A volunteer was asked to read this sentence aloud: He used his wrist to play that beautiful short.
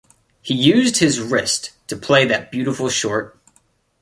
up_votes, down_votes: 2, 0